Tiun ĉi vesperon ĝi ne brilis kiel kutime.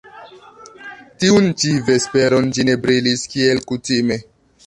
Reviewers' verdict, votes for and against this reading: accepted, 2, 0